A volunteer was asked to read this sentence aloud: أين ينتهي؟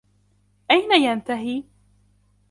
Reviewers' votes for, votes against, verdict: 2, 0, accepted